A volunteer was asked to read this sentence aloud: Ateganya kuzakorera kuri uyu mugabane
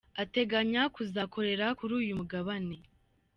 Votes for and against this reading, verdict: 2, 1, accepted